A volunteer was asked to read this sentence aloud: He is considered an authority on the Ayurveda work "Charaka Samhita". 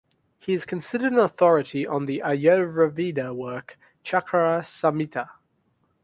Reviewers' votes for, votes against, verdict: 0, 2, rejected